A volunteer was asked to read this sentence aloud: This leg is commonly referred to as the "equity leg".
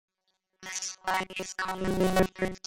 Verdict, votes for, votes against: rejected, 0, 2